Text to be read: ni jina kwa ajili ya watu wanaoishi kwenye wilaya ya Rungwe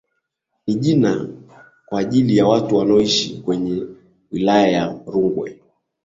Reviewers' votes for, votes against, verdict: 2, 0, accepted